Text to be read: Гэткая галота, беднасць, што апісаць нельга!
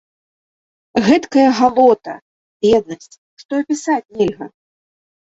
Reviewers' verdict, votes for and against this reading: accepted, 2, 0